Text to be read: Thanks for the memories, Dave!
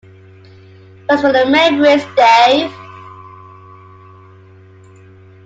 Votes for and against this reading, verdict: 1, 2, rejected